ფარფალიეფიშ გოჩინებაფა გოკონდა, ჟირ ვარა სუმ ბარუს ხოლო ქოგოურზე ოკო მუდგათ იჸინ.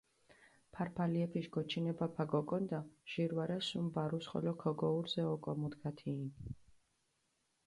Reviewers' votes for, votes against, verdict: 2, 0, accepted